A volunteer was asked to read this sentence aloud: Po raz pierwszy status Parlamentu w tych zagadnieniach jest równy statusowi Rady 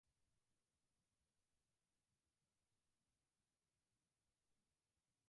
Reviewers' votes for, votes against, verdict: 0, 4, rejected